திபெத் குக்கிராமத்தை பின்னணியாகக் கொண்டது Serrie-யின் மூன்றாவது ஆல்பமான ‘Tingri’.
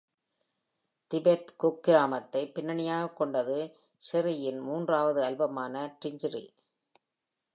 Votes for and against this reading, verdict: 2, 0, accepted